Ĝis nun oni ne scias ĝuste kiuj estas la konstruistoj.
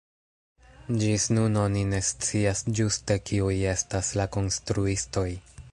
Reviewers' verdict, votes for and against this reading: accepted, 2, 0